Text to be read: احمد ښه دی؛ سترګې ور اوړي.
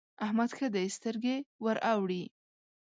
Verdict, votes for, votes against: accepted, 3, 0